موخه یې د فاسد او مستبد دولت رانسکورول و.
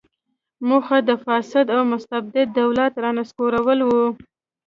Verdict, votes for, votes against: accepted, 2, 0